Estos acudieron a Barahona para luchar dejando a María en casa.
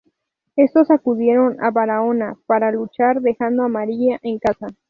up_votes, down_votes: 2, 0